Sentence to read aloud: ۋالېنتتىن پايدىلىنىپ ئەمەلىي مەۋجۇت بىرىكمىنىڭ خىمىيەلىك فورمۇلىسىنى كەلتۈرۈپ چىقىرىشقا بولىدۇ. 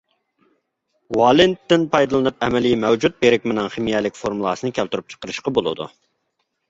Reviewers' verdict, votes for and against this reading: accepted, 2, 0